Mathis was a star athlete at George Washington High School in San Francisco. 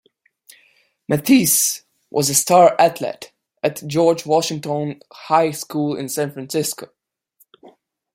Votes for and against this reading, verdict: 2, 0, accepted